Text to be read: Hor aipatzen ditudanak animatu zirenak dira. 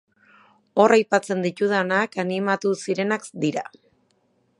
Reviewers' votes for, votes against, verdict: 1, 2, rejected